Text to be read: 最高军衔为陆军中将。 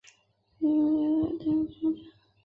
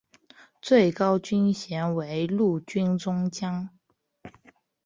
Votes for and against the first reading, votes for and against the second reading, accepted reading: 0, 2, 4, 0, second